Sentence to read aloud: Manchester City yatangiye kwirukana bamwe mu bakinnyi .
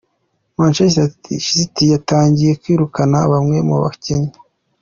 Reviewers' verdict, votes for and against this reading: rejected, 0, 2